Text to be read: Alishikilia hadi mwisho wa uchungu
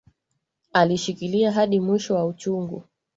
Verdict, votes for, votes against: rejected, 0, 2